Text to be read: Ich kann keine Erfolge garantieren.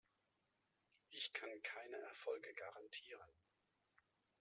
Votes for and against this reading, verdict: 2, 1, accepted